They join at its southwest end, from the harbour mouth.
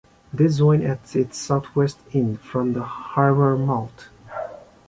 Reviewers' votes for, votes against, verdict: 0, 3, rejected